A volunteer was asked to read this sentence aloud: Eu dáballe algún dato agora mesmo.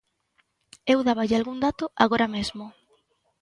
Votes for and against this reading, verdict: 2, 0, accepted